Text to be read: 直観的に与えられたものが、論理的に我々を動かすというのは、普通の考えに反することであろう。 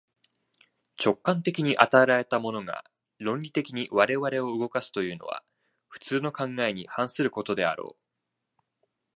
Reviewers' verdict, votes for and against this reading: rejected, 1, 2